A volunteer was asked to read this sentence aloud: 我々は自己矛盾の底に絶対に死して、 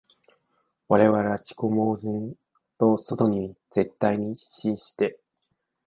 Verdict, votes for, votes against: rejected, 0, 2